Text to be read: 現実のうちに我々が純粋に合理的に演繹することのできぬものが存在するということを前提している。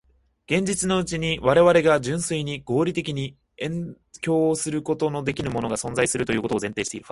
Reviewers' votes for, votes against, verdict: 0, 2, rejected